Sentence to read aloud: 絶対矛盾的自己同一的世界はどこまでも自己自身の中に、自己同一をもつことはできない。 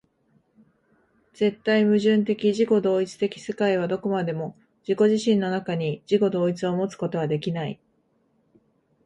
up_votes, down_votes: 2, 0